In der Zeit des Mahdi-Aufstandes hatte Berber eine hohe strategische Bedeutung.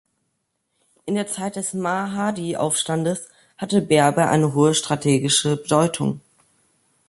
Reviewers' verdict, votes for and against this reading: rejected, 0, 2